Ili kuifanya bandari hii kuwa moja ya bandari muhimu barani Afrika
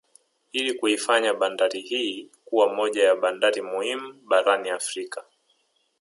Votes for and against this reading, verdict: 3, 2, accepted